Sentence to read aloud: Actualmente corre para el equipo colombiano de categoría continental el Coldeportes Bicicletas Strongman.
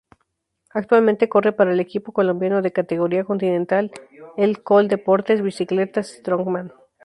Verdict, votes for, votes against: rejected, 0, 2